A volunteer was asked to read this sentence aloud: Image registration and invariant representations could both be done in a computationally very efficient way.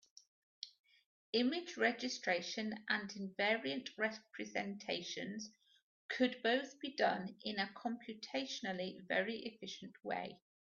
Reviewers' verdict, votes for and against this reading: rejected, 1, 2